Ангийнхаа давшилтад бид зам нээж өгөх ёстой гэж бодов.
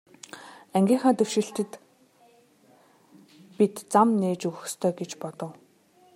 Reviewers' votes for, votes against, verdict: 0, 2, rejected